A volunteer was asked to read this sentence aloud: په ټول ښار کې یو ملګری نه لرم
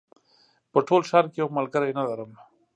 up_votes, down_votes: 2, 0